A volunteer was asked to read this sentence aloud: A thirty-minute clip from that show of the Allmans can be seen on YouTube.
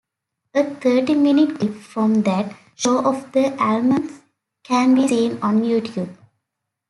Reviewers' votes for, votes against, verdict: 2, 1, accepted